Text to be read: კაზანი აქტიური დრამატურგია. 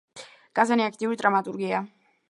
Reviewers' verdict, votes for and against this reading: accepted, 2, 1